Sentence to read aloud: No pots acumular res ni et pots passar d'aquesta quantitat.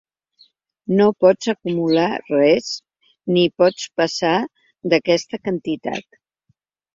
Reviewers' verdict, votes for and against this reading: rejected, 0, 2